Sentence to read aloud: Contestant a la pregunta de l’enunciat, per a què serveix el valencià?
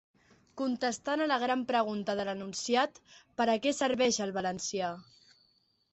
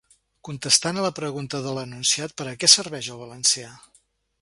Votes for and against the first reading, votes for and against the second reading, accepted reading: 0, 2, 2, 0, second